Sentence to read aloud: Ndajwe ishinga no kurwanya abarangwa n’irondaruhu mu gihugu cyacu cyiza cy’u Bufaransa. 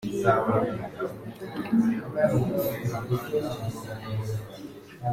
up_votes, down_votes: 0, 2